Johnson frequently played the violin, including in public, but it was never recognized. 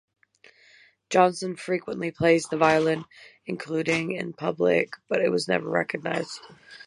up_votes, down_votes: 3, 3